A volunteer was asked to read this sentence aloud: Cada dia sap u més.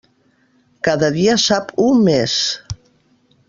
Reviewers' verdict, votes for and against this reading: accepted, 2, 0